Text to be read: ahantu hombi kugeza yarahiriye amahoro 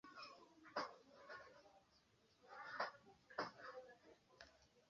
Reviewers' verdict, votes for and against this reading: rejected, 1, 2